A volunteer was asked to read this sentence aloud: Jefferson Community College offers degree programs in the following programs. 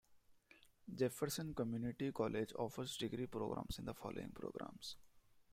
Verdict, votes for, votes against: rejected, 0, 2